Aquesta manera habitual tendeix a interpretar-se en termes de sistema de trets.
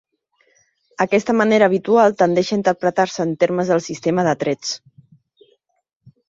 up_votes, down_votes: 0, 2